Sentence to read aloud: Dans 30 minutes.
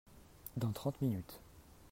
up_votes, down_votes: 0, 2